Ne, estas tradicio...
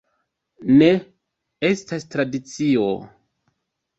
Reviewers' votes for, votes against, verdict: 2, 0, accepted